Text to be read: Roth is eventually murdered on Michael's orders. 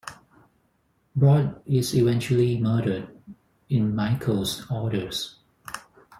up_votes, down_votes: 0, 4